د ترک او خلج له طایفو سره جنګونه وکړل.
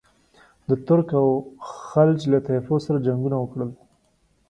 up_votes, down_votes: 2, 0